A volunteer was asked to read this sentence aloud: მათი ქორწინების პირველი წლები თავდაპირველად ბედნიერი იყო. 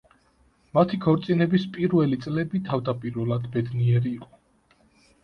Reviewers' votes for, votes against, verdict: 2, 0, accepted